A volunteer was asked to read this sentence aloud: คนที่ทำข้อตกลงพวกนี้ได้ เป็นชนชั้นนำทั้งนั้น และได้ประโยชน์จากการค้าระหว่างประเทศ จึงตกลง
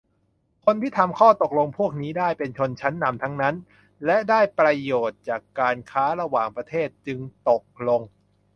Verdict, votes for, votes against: accepted, 2, 0